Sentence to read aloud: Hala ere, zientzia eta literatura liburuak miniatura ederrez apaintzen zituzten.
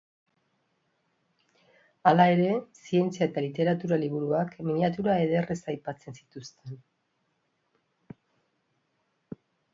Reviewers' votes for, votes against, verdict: 0, 3, rejected